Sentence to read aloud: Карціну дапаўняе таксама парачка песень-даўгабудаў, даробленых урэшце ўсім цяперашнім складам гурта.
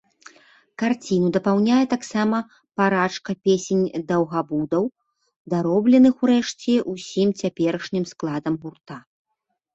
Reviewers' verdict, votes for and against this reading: rejected, 0, 2